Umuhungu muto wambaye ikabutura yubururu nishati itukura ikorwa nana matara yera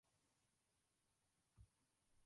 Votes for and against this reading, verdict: 0, 2, rejected